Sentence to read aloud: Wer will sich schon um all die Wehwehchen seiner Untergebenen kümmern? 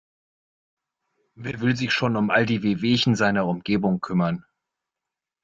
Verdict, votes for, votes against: rejected, 0, 2